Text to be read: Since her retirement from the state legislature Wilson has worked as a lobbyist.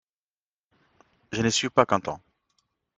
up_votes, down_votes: 1, 2